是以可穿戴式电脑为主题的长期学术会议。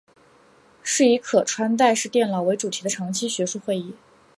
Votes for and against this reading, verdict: 4, 0, accepted